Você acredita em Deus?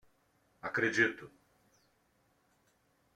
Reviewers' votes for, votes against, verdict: 0, 2, rejected